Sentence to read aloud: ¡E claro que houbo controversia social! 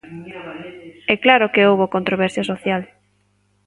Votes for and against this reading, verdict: 1, 2, rejected